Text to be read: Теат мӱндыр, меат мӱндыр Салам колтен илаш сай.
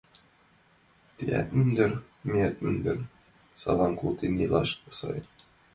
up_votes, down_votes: 2, 0